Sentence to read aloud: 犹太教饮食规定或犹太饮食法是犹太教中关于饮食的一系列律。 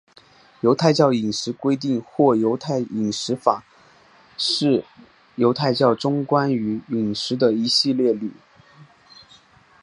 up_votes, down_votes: 2, 1